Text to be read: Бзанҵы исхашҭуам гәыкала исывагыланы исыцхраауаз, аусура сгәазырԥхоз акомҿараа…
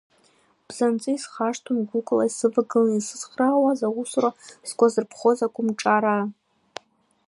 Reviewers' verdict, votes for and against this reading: rejected, 1, 2